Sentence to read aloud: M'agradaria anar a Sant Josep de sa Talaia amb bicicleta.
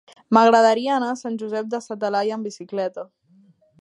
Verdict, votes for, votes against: accepted, 3, 0